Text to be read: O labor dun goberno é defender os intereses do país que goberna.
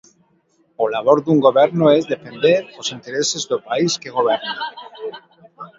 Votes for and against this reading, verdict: 1, 2, rejected